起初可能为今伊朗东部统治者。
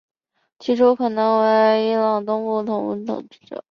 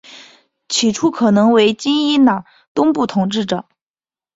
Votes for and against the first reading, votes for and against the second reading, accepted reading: 1, 2, 2, 0, second